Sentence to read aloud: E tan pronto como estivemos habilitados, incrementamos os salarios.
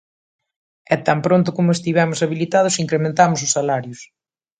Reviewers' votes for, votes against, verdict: 2, 0, accepted